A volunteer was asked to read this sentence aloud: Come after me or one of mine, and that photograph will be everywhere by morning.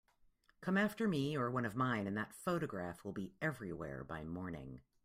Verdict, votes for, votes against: accepted, 2, 0